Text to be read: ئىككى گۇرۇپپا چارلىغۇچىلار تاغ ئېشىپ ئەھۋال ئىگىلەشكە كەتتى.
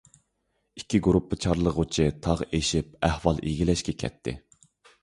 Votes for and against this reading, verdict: 0, 2, rejected